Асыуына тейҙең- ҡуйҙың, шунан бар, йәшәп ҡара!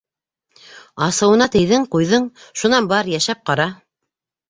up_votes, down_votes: 2, 0